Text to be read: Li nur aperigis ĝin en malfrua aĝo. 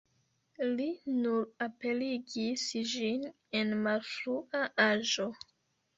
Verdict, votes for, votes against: rejected, 0, 2